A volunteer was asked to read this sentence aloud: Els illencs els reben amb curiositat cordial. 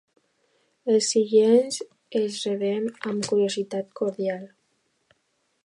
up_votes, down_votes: 0, 2